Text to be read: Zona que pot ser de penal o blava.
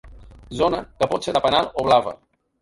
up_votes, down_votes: 3, 1